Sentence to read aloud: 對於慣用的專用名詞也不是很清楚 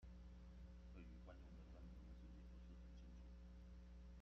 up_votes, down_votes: 0, 2